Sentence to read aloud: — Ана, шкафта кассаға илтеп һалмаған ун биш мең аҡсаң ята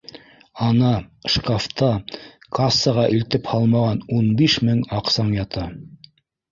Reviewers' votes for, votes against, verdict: 2, 0, accepted